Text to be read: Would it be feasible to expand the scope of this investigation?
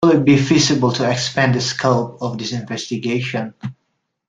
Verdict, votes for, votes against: rejected, 1, 2